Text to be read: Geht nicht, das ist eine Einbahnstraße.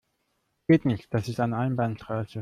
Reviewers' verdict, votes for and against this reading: rejected, 0, 2